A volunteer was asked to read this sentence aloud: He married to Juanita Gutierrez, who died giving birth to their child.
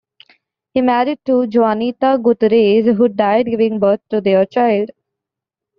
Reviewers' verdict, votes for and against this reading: rejected, 1, 2